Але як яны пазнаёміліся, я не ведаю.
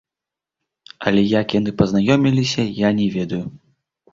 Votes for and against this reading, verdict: 0, 2, rejected